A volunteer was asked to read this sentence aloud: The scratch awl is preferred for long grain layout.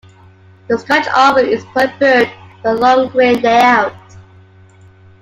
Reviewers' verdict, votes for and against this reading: accepted, 2, 0